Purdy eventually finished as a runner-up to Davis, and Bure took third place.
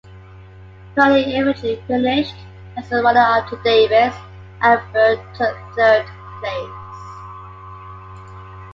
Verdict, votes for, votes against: accepted, 2, 1